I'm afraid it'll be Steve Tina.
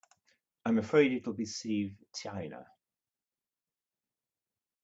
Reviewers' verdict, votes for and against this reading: rejected, 1, 2